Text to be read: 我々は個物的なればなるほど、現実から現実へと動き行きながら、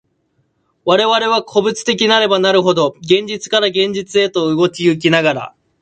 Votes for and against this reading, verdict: 2, 0, accepted